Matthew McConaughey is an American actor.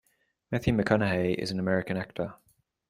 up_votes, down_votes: 2, 0